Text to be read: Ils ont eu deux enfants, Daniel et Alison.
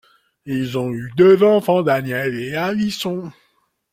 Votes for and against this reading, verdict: 1, 2, rejected